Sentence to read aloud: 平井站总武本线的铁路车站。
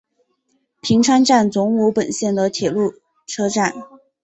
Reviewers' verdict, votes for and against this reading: rejected, 2, 2